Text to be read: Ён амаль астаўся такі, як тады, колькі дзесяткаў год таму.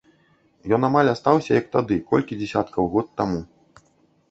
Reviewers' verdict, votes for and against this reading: rejected, 1, 2